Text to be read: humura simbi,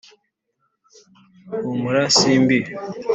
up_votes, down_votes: 3, 0